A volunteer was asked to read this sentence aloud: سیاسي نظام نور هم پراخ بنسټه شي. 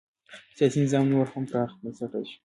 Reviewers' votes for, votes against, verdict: 2, 0, accepted